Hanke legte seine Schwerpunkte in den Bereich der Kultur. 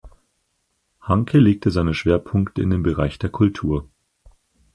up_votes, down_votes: 4, 0